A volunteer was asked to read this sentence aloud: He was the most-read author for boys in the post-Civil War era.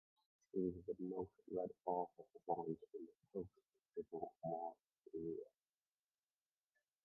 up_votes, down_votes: 0, 2